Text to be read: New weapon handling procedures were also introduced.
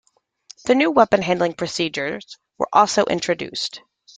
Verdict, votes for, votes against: accepted, 2, 1